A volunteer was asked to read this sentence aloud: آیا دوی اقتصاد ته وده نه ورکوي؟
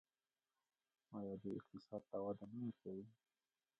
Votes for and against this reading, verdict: 2, 0, accepted